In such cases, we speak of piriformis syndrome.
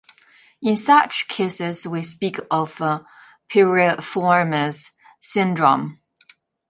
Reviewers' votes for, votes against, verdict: 2, 1, accepted